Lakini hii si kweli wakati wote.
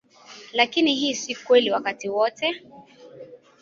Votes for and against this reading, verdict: 2, 0, accepted